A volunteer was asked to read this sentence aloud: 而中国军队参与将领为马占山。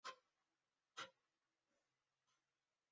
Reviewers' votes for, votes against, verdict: 0, 2, rejected